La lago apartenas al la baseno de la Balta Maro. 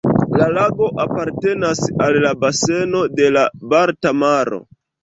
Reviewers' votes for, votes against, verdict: 2, 1, accepted